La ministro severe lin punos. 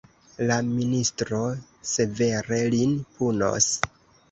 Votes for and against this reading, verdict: 0, 2, rejected